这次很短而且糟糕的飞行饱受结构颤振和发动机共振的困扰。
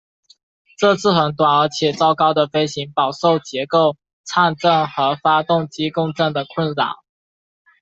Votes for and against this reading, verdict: 2, 0, accepted